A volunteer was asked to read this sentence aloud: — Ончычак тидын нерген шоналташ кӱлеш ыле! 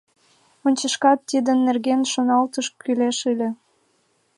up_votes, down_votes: 1, 2